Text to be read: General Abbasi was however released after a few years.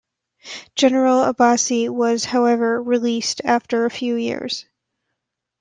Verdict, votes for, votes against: accepted, 2, 0